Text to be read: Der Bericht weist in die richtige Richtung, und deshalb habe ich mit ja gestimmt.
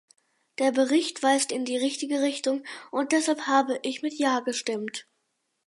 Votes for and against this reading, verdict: 4, 0, accepted